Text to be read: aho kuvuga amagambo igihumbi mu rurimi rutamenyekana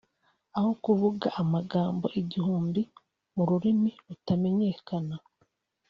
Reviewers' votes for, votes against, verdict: 2, 0, accepted